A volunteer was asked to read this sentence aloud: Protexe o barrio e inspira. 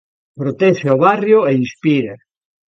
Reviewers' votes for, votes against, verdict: 2, 0, accepted